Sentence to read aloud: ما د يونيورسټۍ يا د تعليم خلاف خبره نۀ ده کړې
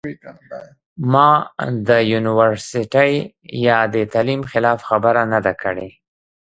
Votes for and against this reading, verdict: 1, 2, rejected